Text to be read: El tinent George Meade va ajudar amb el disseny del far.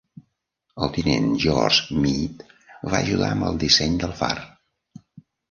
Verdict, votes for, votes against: accepted, 2, 0